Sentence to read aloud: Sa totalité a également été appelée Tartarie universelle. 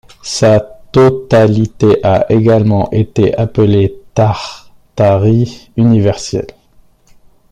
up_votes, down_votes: 2, 1